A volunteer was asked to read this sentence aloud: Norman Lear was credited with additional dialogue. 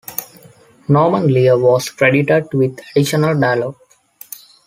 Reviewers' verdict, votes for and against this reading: accepted, 3, 0